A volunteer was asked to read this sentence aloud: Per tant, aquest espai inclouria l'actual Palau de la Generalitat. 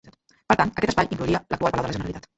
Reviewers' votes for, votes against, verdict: 0, 2, rejected